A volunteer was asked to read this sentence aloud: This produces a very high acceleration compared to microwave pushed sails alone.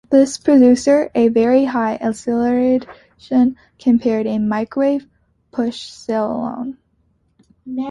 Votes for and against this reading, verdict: 0, 2, rejected